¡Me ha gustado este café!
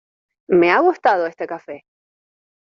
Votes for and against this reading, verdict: 2, 0, accepted